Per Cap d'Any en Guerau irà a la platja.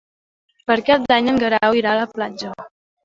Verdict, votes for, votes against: rejected, 0, 2